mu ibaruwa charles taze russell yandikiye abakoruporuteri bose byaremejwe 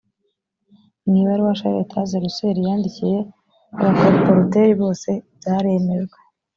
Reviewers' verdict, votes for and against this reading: accepted, 2, 0